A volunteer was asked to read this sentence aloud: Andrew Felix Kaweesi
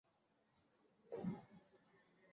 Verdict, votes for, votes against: rejected, 0, 2